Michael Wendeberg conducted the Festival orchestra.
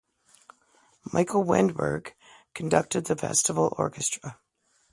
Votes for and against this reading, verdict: 0, 2, rejected